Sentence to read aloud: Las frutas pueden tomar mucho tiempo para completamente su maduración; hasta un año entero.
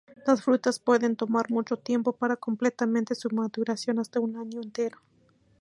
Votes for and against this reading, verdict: 0, 2, rejected